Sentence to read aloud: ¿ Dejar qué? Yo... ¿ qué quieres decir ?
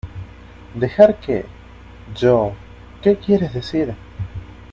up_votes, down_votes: 2, 0